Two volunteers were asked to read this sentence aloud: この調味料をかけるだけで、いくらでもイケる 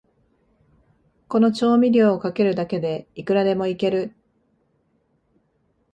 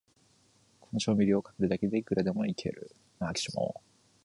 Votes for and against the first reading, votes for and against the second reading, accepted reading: 2, 0, 0, 2, first